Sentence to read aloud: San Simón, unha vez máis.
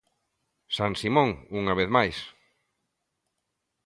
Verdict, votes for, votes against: accepted, 2, 0